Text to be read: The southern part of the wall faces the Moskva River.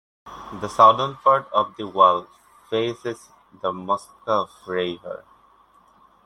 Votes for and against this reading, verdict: 0, 2, rejected